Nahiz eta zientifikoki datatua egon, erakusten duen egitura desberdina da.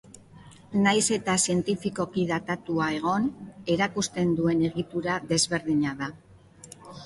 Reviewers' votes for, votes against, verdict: 3, 0, accepted